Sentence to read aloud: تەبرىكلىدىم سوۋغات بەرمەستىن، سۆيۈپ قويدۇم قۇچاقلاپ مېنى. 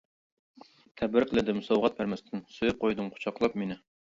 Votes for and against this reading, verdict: 0, 2, rejected